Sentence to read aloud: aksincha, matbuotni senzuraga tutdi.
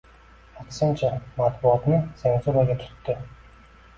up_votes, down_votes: 1, 2